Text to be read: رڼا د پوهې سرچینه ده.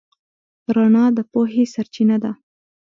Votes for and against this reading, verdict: 2, 0, accepted